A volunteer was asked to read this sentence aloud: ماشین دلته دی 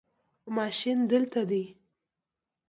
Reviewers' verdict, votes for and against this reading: accepted, 2, 0